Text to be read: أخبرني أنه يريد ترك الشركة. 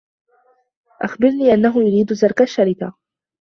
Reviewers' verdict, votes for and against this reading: rejected, 0, 2